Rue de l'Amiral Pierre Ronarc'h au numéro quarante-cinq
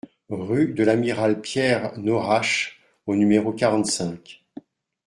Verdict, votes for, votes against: rejected, 0, 2